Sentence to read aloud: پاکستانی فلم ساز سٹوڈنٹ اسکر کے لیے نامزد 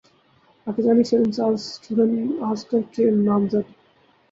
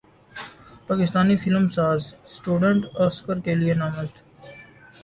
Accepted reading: second